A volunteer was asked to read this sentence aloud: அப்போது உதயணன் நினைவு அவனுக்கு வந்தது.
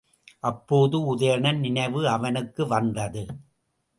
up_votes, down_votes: 2, 0